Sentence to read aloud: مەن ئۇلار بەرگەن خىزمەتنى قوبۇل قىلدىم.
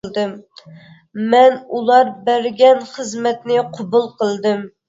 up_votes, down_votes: 2, 0